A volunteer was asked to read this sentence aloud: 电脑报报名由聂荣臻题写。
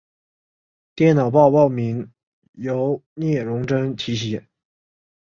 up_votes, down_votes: 4, 0